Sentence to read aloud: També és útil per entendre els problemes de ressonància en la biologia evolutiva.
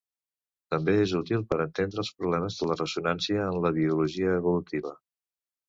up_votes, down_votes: 1, 2